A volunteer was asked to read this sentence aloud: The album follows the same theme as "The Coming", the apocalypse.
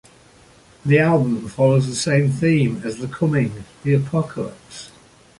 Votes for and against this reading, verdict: 2, 0, accepted